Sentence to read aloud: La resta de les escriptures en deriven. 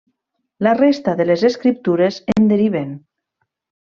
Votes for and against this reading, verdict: 3, 0, accepted